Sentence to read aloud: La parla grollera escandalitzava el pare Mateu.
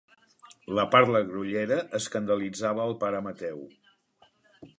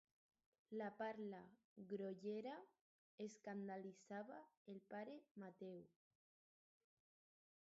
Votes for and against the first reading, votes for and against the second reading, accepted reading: 2, 0, 2, 4, first